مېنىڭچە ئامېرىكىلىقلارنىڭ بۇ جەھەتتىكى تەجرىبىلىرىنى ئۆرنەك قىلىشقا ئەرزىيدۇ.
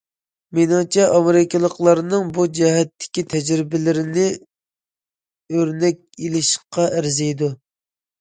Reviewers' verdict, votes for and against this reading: rejected, 0, 2